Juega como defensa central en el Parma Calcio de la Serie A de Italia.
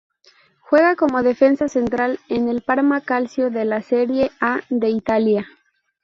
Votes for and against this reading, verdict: 0, 4, rejected